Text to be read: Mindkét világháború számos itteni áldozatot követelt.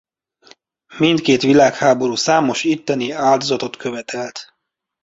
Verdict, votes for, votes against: accepted, 2, 0